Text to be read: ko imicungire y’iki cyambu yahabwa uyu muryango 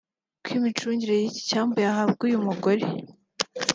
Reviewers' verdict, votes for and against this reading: rejected, 1, 2